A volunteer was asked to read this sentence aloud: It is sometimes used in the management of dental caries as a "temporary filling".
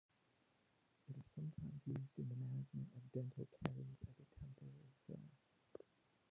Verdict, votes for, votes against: rejected, 0, 2